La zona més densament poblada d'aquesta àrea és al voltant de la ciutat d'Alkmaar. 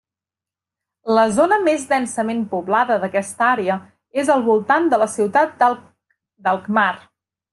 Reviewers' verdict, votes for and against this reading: rejected, 1, 2